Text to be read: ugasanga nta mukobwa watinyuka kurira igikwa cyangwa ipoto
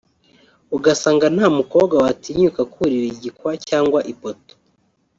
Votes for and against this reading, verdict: 1, 2, rejected